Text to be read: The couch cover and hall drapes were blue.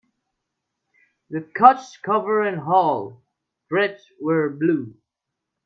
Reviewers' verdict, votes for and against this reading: rejected, 1, 2